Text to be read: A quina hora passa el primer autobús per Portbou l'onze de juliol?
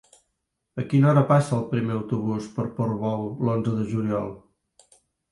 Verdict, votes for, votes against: accepted, 3, 0